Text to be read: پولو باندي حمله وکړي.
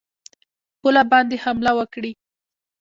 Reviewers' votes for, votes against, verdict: 0, 2, rejected